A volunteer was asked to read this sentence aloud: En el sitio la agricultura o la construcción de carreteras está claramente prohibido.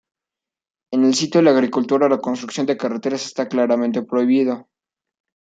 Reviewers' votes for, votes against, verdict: 1, 2, rejected